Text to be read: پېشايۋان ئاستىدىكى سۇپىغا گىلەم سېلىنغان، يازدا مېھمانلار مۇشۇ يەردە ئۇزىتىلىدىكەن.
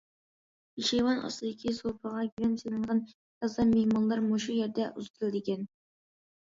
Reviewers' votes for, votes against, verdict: 2, 1, accepted